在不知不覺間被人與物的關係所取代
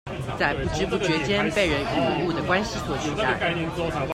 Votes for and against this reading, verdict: 2, 0, accepted